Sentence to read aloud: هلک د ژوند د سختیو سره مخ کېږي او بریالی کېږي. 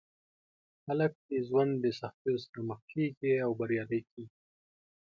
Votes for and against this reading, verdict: 2, 0, accepted